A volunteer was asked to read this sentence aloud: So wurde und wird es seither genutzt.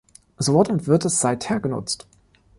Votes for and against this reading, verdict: 1, 2, rejected